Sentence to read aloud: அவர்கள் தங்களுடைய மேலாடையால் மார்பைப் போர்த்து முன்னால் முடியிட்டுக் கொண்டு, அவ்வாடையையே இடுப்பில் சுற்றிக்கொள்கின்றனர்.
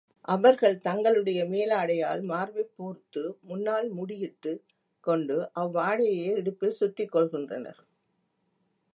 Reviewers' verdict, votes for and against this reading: rejected, 0, 2